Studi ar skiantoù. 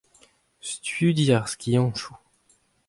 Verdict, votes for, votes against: accepted, 2, 0